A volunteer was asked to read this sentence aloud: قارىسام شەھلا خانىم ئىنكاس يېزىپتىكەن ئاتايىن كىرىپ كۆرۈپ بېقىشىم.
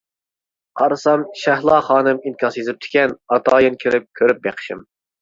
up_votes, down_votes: 2, 0